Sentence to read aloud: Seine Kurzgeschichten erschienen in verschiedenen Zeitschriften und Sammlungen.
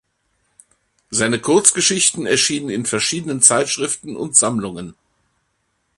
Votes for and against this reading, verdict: 2, 0, accepted